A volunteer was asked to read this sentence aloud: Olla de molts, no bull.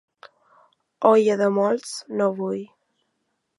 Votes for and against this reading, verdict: 2, 0, accepted